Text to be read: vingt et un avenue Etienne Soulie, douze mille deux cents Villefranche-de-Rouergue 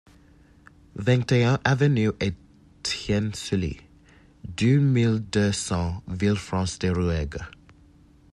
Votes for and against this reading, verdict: 1, 2, rejected